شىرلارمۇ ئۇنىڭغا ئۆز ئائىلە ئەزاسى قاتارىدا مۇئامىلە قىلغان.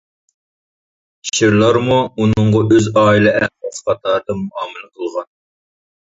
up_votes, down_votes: 0, 2